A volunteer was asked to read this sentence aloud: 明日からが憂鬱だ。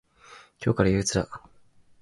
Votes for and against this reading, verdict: 0, 4, rejected